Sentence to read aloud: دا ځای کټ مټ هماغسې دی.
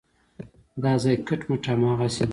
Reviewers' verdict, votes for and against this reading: accepted, 2, 0